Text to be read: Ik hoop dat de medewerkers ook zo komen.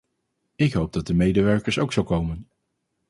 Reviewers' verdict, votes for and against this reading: accepted, 4, 0